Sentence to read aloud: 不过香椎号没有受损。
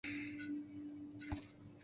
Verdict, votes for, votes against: rejected, 0, 3